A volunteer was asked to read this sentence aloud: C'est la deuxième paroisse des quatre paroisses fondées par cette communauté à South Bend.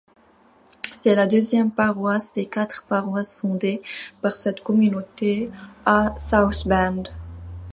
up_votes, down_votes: 2, 0